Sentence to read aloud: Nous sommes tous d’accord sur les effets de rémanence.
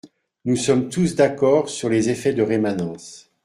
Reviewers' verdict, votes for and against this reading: accepted, 2, 0